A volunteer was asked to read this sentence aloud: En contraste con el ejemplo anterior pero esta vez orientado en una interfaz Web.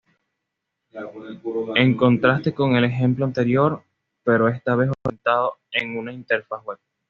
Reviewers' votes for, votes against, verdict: 1, 2, rejected